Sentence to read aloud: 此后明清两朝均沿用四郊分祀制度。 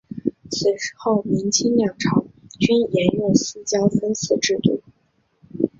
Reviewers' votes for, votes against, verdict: 4, 2, accepted